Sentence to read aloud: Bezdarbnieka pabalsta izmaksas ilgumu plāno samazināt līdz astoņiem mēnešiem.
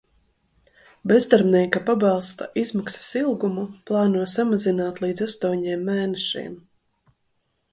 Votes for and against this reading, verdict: 2, 0, accepted